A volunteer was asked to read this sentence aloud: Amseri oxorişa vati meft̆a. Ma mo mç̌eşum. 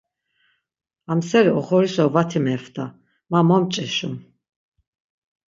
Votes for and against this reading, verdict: 6, 3, accepted